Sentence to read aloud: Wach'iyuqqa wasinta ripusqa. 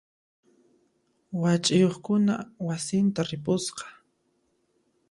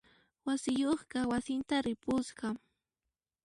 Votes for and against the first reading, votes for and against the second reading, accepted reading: 1, 2, 2, 0, second